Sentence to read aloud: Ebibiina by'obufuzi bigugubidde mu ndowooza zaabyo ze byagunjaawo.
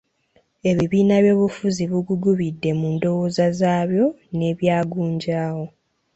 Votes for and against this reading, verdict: 0, 2, rejected